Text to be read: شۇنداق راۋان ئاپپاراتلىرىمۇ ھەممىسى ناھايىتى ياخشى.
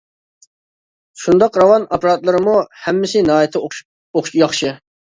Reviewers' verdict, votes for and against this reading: rejected, 0, 2